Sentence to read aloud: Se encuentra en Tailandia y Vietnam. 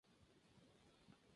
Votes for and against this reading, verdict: 0, 4, rejected